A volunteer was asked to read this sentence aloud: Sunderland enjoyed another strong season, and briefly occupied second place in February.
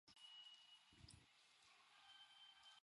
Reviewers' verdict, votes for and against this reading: rejected, 0, 2